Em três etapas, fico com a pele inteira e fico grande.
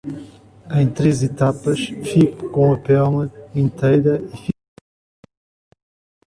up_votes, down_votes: 0, 2